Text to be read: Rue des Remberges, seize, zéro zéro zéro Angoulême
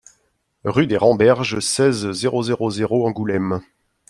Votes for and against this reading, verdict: 2, 0, accepted